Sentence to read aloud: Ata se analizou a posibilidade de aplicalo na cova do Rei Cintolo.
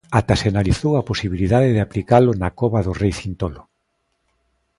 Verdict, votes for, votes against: accepted, 2, 0